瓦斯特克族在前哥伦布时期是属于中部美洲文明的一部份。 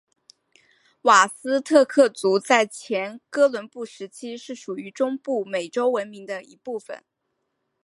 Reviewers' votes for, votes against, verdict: 6, 2, accepted